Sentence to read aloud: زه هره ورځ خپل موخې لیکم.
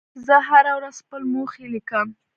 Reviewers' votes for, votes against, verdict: 1, 2, rejected